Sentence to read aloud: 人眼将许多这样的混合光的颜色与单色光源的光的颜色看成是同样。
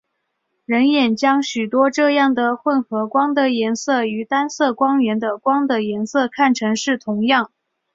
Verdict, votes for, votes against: accepted, 4, 0